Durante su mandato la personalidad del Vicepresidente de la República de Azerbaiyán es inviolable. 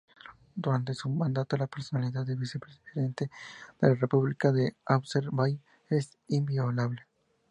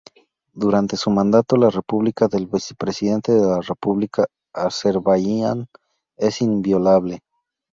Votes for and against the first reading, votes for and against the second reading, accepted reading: 2, 0, 0, 4, first